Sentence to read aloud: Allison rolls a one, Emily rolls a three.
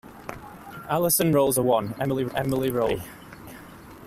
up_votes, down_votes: 0, 2